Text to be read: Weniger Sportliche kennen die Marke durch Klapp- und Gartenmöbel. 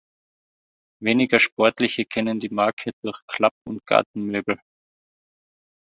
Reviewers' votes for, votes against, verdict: 2, 0, accepted